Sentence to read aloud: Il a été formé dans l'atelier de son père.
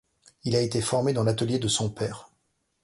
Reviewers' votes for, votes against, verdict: 2, 0, accepted